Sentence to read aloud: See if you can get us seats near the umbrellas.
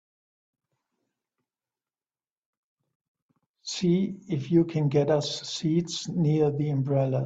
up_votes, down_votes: 1, 2